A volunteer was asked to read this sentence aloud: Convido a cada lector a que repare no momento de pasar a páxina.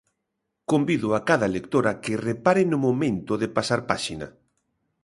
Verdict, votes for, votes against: rejected, 1, 2